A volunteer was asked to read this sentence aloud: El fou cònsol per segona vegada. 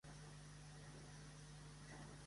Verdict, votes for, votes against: rejected, 1, 2